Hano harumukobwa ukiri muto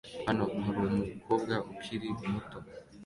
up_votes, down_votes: 2, 0